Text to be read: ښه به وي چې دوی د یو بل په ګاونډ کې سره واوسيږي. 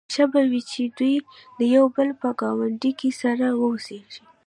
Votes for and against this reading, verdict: 2, 0, accepted